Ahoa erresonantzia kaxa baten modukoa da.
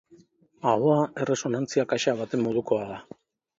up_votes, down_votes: 2, 0